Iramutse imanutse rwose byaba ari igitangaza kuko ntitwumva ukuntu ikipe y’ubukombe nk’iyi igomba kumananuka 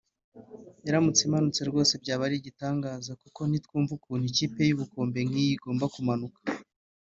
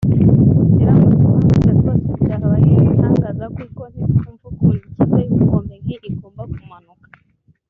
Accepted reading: first